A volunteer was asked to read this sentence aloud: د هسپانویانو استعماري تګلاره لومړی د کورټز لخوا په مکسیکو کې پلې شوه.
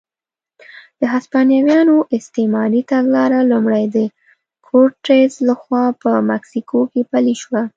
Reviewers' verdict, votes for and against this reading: rejected, 0, 2